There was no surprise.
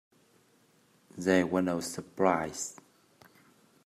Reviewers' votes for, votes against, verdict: 1, 2, rejected